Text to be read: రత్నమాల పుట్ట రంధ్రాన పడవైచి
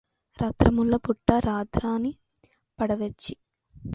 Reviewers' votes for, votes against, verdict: 0, 2, rejected